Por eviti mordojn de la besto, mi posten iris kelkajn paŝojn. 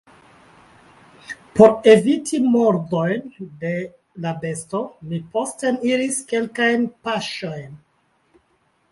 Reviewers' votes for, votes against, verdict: 1, 2, rejected